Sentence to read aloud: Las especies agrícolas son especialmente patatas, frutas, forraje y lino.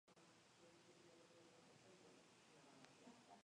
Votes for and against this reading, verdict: 0, 2, rejected